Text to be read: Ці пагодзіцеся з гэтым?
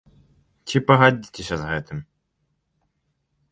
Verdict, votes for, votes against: rejected, 0, 2